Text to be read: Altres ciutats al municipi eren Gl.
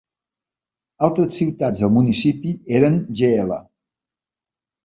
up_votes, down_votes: 0, 2